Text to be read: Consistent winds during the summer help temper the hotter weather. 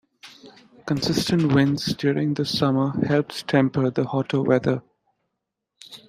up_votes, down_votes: 1, 2